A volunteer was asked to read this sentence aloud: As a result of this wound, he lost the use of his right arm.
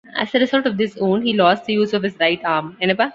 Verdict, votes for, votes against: rejected, 0, 2